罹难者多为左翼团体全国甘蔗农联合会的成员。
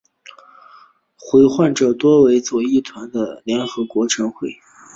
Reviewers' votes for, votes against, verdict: 2, 1, accepted